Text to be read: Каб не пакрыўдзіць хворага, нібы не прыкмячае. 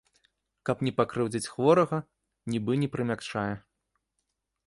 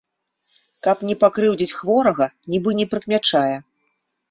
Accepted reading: second